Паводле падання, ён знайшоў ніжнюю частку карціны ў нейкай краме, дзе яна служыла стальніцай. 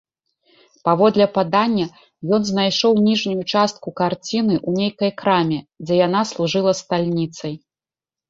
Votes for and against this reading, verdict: 2, 0, accepted